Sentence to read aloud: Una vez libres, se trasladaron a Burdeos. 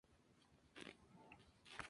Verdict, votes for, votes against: rejected, 0, 2